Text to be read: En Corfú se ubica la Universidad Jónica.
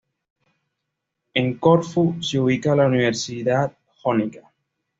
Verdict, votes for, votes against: accepted, 2, 0